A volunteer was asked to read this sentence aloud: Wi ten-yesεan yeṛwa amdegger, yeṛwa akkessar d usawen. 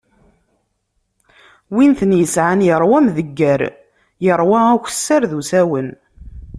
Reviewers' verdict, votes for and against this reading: rejected, 0, 2